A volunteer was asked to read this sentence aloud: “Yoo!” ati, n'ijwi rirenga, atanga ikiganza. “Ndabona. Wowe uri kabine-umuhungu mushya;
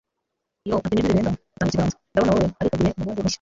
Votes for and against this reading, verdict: 0, 2, rejected